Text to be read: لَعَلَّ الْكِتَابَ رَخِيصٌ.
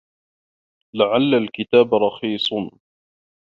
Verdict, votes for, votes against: accepted, 2, 1